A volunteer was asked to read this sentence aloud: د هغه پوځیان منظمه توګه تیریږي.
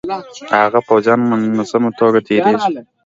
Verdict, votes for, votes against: accepted, 2, 1